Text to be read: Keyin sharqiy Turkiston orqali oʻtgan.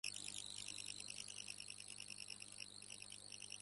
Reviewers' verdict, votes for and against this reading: rejected, 0, 2